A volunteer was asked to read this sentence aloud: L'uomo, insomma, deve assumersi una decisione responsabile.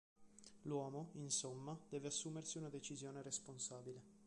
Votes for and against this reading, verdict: 2, 0, accepted